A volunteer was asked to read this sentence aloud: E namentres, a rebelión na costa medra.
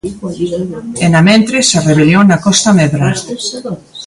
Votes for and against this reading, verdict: 0, 2, rejected